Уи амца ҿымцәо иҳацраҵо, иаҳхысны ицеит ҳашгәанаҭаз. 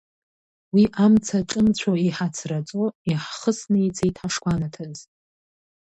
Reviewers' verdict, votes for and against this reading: rejected, 1, 2